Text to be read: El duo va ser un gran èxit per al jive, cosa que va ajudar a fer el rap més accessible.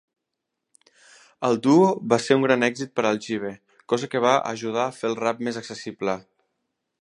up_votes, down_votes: 3, 0